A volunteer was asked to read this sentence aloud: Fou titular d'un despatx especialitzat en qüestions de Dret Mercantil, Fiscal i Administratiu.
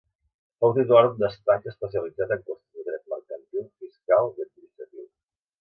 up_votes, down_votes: 0, 2